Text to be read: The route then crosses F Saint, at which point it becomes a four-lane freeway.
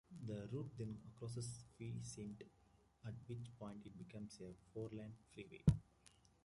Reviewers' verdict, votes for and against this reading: rejected, 1, 2